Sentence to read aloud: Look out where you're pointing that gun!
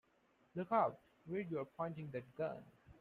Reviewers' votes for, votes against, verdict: 1, 2, rejected